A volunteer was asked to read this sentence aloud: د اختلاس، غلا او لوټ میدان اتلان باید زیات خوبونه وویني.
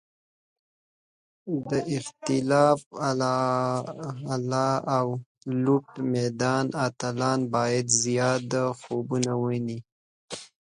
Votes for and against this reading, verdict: 1, 2, rejected